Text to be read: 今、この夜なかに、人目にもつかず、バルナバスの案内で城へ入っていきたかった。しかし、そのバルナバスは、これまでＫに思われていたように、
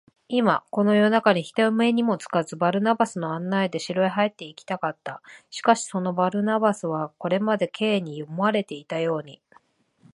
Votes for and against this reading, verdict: 0, 2, rejected